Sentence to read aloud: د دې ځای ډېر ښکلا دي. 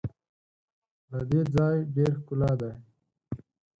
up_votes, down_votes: 0, 4